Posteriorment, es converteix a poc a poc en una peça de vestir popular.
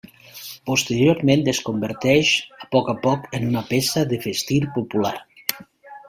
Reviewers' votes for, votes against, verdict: 2, 1, accepted